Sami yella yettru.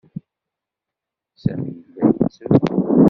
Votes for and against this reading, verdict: 1, 2, rejected